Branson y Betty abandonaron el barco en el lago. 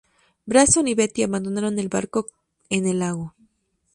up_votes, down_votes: 2, 0